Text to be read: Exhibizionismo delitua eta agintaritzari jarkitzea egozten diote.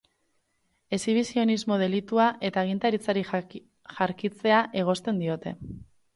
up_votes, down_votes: 4, 4